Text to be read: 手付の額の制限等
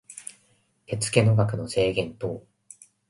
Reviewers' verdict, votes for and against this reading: accepted, 2, 0